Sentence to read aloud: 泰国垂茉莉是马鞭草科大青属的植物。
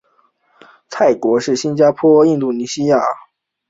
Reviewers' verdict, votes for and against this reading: rejected, 0, 2